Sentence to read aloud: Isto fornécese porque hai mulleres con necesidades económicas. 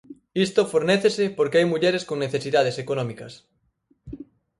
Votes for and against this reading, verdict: 4, 0, accepted